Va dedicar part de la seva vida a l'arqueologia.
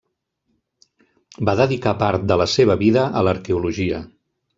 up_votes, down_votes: 3, 0